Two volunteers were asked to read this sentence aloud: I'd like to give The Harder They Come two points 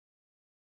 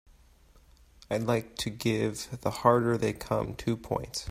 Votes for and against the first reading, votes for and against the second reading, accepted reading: 0, 2, 2, 0, second